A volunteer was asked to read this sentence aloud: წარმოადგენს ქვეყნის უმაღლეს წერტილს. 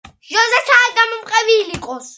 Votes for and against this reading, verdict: 1, 2, rejected